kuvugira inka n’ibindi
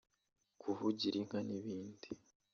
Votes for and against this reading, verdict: 2, 0, accepted